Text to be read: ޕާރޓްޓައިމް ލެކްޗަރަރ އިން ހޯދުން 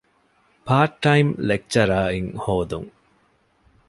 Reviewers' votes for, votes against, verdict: 2, 0, accepted